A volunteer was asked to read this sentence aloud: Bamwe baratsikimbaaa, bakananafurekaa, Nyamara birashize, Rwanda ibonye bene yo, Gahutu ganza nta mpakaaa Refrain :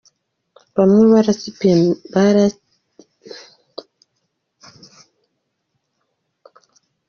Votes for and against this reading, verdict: 0, 2, rejected